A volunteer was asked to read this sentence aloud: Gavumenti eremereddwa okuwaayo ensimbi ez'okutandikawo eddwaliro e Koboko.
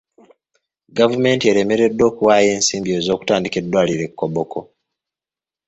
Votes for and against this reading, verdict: 1, 2, rejected